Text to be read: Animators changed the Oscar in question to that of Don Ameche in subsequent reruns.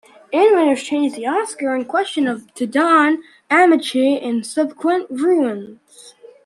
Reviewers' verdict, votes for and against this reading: rejected, 1, 2